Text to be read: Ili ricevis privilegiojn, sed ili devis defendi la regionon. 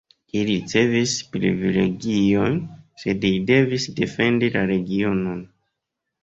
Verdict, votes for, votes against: rejected, 0, 2